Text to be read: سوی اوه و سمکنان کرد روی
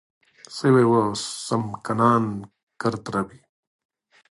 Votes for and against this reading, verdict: 2, 0, accepted